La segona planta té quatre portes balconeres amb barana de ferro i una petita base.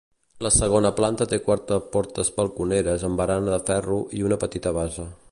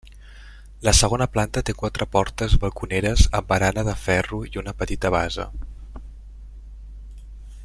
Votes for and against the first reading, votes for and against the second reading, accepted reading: 0, 2, 2, 0, second